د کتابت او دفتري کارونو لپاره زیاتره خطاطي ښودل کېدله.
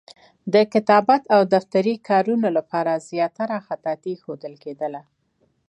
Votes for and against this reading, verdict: 2, 0, accepted